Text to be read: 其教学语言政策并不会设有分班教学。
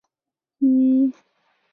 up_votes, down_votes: 0, 5